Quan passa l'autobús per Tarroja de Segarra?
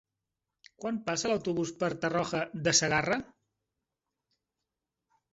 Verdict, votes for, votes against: rejected, 1, 2